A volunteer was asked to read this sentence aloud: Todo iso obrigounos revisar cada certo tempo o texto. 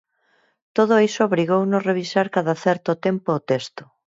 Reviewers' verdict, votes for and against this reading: accepted, 4, 2